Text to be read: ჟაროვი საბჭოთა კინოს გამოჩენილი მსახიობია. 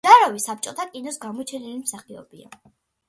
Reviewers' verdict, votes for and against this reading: accepted, 2, 0